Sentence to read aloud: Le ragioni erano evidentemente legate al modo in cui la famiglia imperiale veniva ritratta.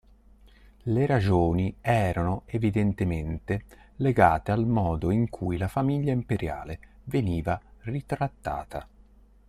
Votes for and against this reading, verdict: 0, 2, rejected